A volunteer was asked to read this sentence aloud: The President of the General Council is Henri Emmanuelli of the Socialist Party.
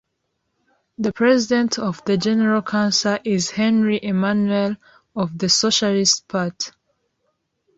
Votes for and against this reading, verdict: 0, 2, rejected